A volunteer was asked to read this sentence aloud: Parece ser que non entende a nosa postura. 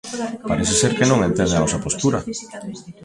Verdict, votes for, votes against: rejected, 1, 2